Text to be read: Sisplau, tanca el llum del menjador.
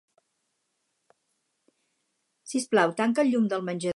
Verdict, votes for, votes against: rejected, 2, 4